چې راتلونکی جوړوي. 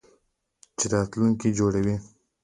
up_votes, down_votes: 2, 1